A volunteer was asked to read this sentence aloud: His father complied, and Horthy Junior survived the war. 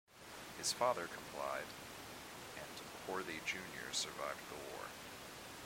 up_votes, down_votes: 2, 0